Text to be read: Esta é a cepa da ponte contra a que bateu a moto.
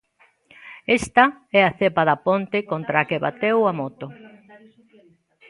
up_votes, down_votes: 1, 2